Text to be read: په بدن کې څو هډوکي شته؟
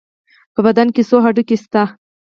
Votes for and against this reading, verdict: 4, 0, accepted